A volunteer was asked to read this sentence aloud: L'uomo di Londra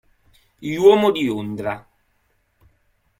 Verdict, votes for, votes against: rejected, 0, 2